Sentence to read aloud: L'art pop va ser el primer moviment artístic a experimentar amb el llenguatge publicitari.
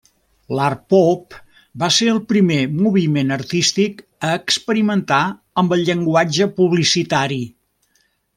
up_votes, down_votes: 3, 1